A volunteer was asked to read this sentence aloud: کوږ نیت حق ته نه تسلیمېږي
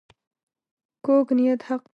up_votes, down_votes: 0, 2